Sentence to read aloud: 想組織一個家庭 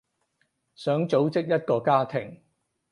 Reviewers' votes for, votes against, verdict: 4, 0, accepted